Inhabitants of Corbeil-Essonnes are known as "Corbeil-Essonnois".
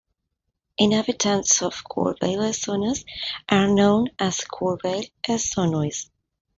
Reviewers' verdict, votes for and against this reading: accepted, 2, 1